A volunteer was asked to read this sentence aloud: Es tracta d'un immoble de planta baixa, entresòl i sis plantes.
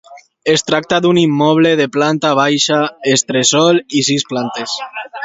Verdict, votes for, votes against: rejected, 0, 2